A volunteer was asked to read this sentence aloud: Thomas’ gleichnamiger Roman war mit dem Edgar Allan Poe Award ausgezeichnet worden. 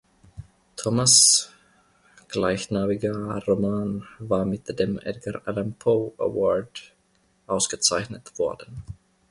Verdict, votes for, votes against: rejected, 1, 2